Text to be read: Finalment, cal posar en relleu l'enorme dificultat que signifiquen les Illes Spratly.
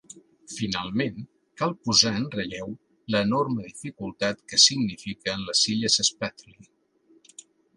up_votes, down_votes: 2, 0